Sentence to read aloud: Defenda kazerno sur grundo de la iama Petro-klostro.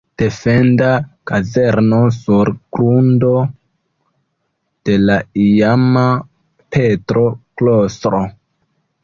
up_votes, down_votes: 1, 2